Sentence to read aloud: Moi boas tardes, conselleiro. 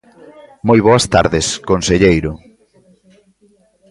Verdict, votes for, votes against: rejected, 1, 2